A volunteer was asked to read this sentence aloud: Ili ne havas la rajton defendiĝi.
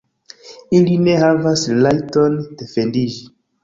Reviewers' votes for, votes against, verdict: 1, 2, rejected